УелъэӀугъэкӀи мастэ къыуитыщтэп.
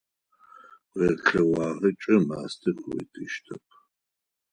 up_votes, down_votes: 2, 4